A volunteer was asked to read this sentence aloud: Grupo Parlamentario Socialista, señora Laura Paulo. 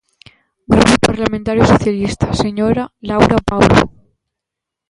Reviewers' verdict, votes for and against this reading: rejected, 0, 2